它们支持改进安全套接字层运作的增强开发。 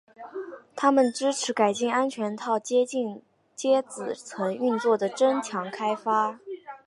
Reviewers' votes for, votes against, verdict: 1, 2, rejected